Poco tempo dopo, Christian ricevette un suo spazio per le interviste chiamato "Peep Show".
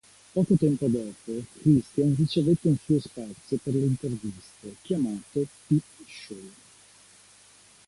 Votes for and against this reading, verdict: 2, 1, accepted